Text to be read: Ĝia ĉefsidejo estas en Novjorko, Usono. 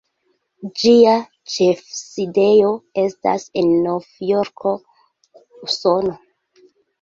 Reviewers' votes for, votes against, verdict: 2, 1, accepted